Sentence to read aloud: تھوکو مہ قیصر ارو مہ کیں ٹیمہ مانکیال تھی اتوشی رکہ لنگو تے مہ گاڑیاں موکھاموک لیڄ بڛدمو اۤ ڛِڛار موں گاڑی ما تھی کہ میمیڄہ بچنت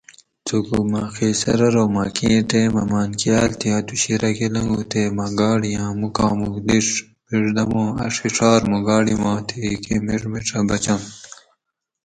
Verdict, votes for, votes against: rejected, 2, 2